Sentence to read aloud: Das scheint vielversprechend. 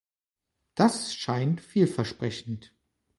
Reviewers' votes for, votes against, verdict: 3, 0, accepted